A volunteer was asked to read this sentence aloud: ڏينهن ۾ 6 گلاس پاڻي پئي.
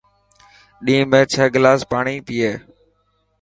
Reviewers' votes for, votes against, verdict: 0, 2, rejected